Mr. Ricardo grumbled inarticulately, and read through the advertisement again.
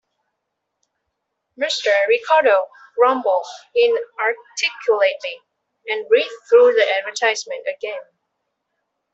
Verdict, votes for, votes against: rejected, 1, 2